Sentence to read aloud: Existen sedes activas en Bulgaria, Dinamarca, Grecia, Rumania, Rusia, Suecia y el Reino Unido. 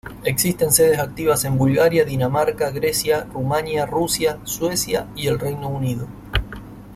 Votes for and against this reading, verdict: 2, 0, accepted